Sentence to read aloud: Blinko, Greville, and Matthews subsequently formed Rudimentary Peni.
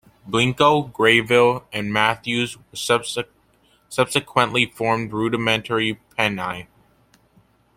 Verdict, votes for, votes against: rejected, 1, 2